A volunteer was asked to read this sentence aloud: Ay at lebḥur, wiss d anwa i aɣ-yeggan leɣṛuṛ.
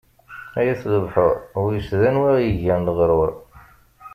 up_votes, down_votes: 2, 0